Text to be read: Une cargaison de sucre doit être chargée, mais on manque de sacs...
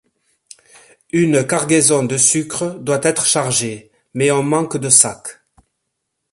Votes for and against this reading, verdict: 2, 0, accepted